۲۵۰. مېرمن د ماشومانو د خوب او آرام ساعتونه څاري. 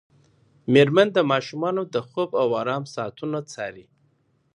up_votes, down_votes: 0, 2